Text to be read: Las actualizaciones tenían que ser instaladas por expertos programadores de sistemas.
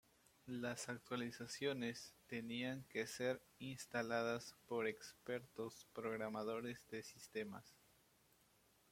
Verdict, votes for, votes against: accepted, 2, 0